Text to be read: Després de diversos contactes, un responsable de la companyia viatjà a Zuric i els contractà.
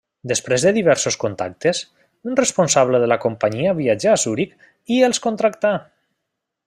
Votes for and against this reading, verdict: 3, 0, accepted